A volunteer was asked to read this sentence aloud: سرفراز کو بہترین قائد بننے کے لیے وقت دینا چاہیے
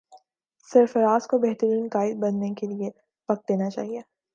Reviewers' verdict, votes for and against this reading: accepted, 4, 0